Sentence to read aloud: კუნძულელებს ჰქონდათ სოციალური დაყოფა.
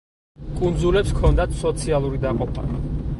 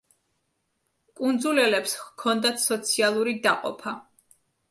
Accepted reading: second